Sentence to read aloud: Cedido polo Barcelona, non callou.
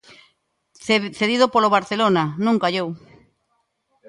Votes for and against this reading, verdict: 0, 2, rejected